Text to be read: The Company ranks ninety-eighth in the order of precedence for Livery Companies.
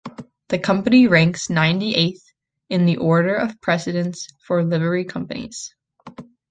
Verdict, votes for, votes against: accepted, 3, 0